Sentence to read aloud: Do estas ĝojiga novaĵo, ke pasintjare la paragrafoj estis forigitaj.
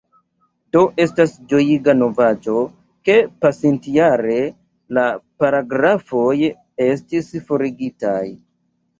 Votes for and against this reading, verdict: 1, 2, rejected